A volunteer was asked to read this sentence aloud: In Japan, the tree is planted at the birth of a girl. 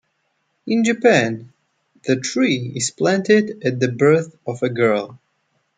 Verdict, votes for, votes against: rejected, 0, 2